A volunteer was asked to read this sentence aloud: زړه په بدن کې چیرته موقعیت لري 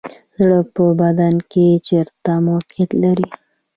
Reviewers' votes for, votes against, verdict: 1, 2, rejected